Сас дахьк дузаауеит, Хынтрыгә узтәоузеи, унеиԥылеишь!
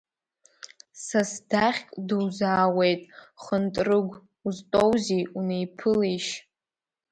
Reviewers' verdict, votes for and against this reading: rejected, 1, 2